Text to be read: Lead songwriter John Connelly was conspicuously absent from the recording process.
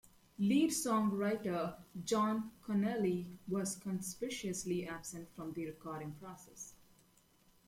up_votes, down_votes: 1, 2